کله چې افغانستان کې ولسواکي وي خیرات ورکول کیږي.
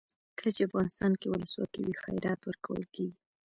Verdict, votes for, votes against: rejected, 1, 2